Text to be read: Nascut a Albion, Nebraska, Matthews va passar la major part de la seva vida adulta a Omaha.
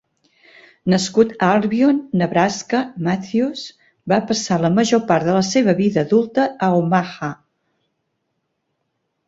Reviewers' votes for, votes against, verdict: 3, 0, accepted